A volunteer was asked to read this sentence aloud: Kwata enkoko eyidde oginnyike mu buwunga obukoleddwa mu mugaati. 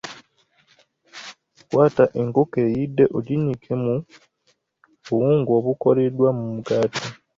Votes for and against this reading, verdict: 2, 0, accepted